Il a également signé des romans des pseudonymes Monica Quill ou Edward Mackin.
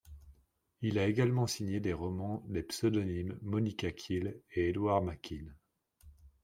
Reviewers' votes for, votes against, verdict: 1, 2, rejected